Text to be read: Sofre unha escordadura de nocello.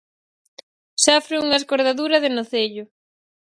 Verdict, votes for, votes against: accepted, 4, 0